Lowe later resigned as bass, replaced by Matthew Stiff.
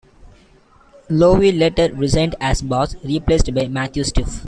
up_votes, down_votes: 1, 2